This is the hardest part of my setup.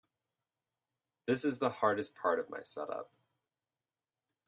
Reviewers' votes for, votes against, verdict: 2, 0, accepted